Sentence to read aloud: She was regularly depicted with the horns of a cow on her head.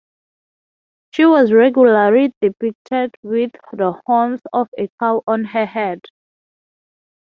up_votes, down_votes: 3, 0